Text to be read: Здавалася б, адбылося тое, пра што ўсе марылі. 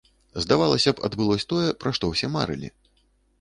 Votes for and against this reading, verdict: 0, 2, rejected